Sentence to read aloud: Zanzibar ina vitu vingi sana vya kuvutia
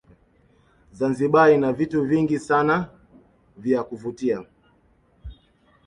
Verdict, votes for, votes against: rejected, 0, 2